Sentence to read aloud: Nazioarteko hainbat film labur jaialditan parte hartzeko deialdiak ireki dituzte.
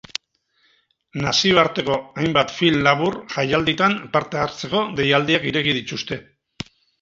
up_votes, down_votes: 4, 0